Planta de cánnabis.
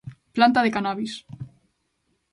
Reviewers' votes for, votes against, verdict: 0, 2, rejected